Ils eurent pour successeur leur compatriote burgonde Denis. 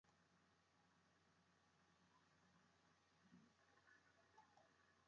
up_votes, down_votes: 0, 2